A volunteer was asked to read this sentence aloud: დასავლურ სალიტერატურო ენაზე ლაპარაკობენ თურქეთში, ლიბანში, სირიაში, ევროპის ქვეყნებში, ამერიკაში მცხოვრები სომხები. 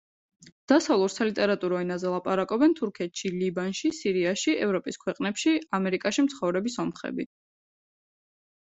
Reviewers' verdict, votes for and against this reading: accepted, 2, 0